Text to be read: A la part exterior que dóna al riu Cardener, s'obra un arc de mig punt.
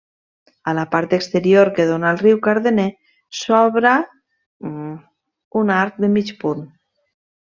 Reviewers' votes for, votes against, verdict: 0, 2, rejected